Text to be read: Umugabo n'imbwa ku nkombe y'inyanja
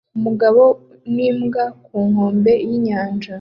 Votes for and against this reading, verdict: 0, 2, rejected